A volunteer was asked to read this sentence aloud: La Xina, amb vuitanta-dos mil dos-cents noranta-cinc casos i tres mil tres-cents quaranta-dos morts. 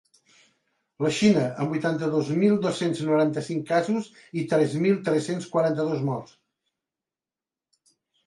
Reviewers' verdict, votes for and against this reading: accepted, 2, 0